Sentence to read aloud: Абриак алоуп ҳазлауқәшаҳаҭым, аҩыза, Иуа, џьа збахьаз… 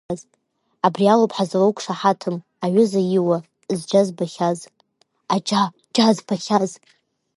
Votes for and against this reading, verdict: 0, 2, rejected